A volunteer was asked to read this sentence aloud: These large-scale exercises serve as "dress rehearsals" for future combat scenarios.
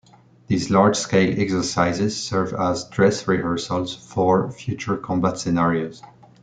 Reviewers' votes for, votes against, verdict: 2, 0, accepted